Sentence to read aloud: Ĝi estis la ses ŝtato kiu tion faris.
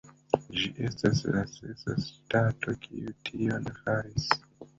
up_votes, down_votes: 2, 0